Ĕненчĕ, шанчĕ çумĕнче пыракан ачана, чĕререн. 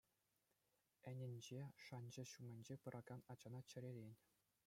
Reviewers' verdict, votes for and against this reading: rejected, 1, 2